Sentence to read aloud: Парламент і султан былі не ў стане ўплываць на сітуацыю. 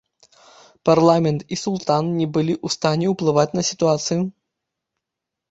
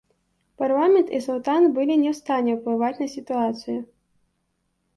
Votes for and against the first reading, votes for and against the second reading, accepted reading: 0, 2, 2, 0, second